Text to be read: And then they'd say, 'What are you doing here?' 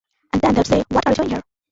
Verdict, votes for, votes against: rejected, 0, 2